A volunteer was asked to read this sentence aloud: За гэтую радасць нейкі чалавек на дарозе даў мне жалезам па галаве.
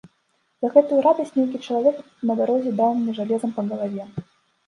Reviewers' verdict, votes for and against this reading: rejected, 1, 2